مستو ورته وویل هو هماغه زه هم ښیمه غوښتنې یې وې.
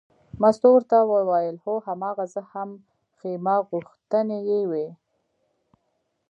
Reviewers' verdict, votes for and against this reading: accepted, 2, 1